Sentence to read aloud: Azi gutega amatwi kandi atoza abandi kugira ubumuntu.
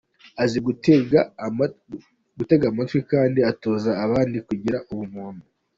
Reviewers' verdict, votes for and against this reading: rejected, 0, 2